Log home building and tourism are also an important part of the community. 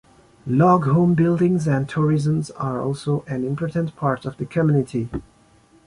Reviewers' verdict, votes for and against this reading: rejected, 1, 3